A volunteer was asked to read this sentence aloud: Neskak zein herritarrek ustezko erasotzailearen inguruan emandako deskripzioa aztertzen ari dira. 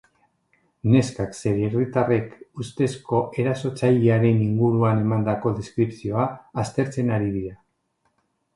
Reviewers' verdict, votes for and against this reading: accepted, 3, 0